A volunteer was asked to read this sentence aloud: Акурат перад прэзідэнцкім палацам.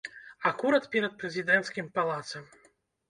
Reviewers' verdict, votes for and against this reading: rejected, 0, 2